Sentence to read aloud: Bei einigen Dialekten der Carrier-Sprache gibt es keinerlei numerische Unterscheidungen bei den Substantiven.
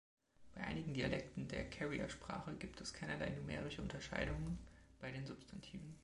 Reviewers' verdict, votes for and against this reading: rejected, 1, 2